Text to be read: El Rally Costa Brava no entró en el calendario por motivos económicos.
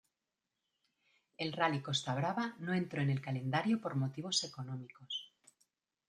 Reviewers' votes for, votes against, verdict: 2, 0, accepted